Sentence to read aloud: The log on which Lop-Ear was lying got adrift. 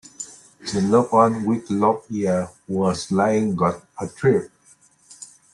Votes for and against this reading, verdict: 1, 2, rejected